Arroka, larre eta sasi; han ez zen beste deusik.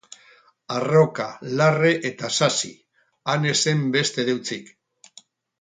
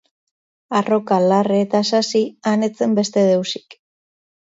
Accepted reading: second